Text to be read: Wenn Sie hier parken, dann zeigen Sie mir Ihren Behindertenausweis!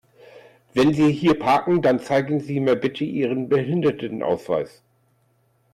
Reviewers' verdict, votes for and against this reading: rejected, 0, 2